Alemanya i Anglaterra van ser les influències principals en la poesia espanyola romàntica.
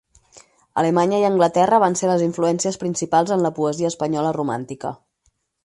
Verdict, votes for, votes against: accepted, 4, 0